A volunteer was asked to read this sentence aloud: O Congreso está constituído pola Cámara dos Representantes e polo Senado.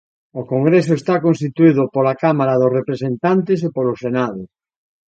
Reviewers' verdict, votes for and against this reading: accepted, 2, 0